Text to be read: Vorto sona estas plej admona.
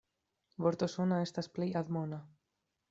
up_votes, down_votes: 2, 0